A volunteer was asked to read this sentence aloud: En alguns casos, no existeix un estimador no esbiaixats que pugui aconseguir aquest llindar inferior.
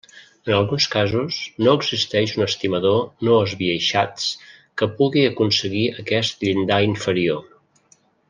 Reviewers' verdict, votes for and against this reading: accepted, 3, 0